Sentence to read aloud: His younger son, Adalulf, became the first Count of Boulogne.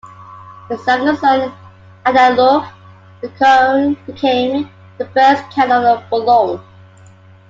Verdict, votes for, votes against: rejected, 0, 2